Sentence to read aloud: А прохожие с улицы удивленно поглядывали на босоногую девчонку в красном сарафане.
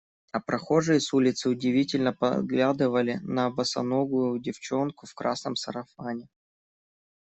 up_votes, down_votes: 1, 2